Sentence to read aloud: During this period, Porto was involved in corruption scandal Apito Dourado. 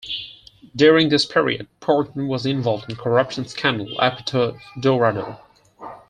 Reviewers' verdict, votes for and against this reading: rejected, 2, 4